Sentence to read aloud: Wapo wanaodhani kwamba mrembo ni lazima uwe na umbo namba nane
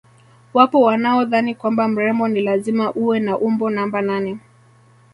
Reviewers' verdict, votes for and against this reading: accepted, 2, 0